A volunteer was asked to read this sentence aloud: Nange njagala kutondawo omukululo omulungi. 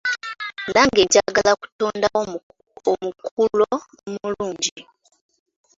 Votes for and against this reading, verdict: 0, 2, rejected